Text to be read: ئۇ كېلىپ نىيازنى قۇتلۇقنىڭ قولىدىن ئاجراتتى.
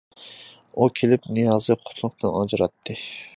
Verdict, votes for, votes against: rejected, 0, 2